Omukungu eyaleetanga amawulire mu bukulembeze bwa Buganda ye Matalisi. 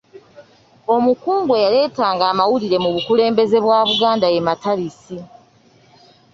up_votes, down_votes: 2, 0